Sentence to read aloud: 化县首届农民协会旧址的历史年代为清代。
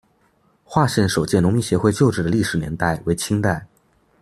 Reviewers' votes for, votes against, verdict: 2, 0, accepted